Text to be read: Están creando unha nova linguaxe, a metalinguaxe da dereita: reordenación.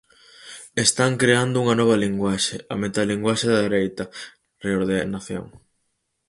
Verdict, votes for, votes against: rejected, 2, 4